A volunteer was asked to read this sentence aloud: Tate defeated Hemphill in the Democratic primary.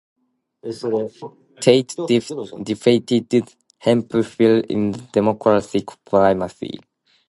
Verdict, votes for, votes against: rejected, 1, 2